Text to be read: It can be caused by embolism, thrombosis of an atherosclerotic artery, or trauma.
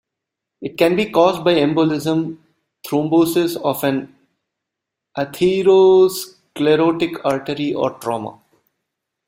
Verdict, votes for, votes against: rejected, 1, 2